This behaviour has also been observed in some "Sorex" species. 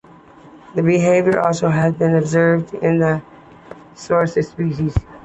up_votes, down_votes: 2, 1